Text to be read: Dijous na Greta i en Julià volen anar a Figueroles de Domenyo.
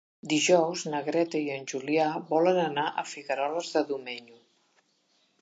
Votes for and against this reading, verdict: 4, 0, accepted